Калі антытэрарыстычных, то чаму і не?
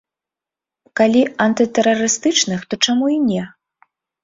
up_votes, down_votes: 4, 0